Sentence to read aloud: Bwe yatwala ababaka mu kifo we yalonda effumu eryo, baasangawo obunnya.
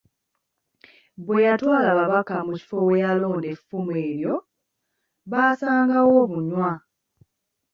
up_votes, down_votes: 0, 2